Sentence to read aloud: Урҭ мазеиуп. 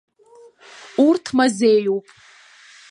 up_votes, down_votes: 1, 2